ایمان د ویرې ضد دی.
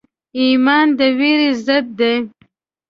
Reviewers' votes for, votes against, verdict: 2, 0, accepted